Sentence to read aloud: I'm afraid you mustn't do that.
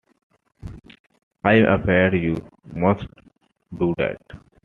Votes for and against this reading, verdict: 0, 2, rejected